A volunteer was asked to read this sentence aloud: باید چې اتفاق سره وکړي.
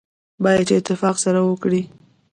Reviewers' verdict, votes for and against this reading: accepted, 2, 1